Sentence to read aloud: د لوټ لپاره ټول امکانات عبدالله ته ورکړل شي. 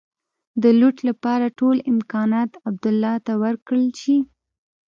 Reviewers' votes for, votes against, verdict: 1, 2, rejected